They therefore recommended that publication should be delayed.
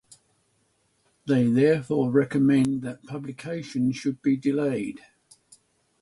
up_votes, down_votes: 3, 9